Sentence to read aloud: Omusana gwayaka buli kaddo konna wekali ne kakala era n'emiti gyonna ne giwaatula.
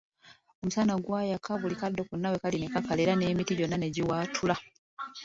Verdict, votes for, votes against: accepted, 2, 0